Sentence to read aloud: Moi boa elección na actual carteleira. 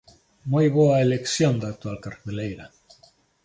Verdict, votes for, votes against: accepted, 2, 1